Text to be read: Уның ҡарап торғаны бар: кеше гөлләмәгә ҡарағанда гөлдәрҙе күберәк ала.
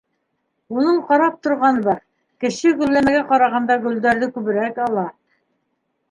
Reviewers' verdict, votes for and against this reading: rejected, 1, 2